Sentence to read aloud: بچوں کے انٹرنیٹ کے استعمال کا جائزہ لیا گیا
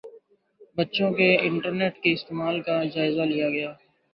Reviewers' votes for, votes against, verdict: 2, 0, accepted